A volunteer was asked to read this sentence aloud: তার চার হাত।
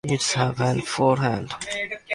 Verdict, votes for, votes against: rejected, 5, 45